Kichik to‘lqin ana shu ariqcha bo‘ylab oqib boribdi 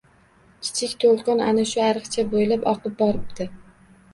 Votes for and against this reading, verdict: 2, 0, accepted